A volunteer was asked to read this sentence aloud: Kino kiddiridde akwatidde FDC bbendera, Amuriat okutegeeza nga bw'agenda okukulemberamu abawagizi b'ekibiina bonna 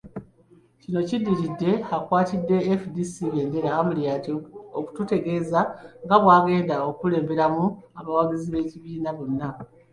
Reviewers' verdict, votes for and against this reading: rejected, 1, 2